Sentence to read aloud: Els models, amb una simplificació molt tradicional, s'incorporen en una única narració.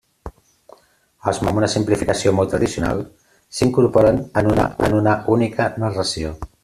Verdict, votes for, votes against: rejected, 0, 2